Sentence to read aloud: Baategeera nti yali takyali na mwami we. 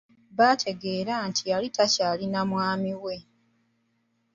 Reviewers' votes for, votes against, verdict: 2, 0, accepted